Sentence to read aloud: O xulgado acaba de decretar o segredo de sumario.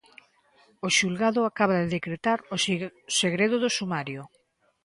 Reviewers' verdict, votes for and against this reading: rejected, 0, 2